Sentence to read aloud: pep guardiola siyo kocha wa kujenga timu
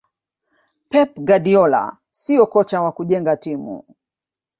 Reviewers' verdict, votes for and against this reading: accepted, 2, 1